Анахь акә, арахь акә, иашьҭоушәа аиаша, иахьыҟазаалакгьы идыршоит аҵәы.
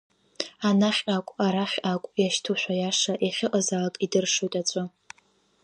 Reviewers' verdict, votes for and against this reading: rejected, 0, 2